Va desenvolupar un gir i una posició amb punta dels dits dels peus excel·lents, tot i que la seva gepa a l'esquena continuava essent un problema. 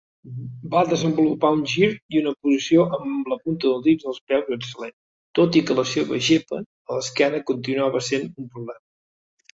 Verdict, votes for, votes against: rejected, 0, 2